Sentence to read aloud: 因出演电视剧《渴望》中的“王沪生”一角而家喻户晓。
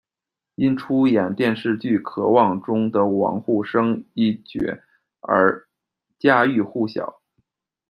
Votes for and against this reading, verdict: 2, 0, accepted